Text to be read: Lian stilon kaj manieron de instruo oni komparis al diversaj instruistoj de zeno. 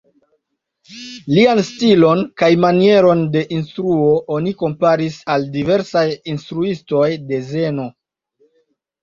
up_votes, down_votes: 2, 0